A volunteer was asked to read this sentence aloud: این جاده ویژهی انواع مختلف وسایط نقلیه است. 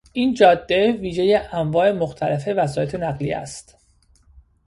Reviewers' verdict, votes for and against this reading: rejected, 1, 2